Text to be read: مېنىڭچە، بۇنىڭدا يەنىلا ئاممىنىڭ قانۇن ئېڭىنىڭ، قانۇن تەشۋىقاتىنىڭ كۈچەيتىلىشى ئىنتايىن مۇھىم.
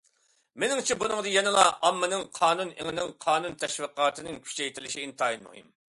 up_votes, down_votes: 2, 0